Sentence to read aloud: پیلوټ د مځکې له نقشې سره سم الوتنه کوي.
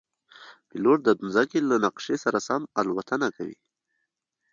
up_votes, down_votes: 2, 0